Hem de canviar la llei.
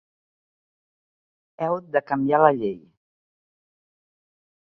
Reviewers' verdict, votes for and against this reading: rejected, 1, 2